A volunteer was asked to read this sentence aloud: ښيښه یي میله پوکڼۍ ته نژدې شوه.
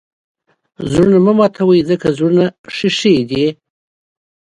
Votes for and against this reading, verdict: 1, 2, rejected